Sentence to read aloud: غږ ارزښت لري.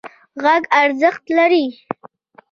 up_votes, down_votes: 2, 0